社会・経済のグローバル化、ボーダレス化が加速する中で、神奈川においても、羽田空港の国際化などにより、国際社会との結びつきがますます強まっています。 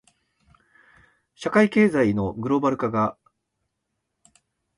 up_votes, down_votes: 0, 2